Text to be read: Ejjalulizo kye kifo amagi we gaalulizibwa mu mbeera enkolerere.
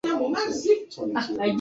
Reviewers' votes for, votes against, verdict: 0, 2, rejected